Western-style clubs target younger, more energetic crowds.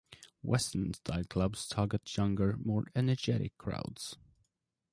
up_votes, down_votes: 1, 2